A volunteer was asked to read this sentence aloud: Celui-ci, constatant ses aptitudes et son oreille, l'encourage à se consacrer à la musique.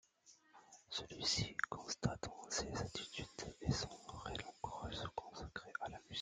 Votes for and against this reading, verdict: 0, 2, rejected